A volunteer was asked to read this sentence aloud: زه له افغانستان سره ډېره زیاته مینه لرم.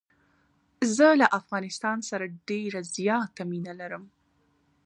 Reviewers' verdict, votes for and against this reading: rejected, 0, 2